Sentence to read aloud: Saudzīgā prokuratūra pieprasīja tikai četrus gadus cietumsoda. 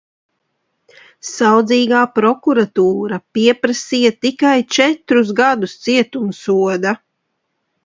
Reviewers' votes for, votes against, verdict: 2, 0, accepted